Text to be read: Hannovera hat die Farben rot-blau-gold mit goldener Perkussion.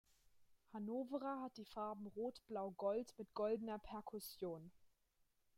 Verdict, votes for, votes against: rejected, 1, 2